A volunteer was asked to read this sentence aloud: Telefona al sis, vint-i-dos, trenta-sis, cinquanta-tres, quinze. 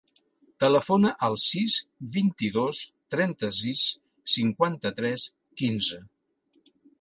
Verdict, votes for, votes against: accepted, 3, 0